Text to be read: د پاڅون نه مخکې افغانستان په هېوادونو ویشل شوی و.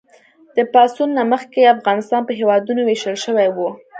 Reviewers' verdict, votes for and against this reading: accepted, 2, 1